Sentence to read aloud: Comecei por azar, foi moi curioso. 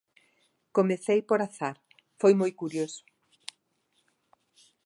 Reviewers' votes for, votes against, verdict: 2, 0, accepted